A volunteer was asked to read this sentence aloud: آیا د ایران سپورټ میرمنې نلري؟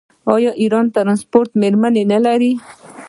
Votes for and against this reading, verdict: 2, 0, accepted